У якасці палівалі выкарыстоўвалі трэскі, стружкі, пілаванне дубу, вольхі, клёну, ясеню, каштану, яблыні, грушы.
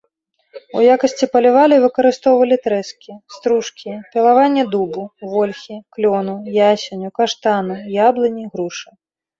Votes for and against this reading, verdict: 2, 0, accepted